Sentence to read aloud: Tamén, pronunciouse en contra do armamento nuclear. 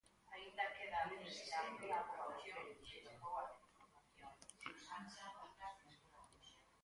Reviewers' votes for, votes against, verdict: 0, 4, rejected